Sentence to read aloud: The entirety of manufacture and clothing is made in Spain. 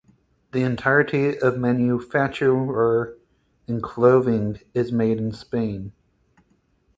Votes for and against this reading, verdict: 2, 4, rejected